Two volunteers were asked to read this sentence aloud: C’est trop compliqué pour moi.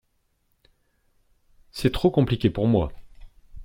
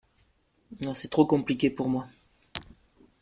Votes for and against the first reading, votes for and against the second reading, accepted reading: 3, 0, 0, 2, first